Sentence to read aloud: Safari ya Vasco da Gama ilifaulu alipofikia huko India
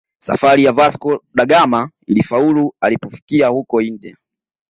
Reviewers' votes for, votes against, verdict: 2, 0, accepted